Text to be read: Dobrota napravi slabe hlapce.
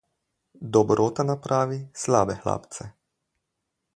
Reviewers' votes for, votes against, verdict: 4, 0, accepted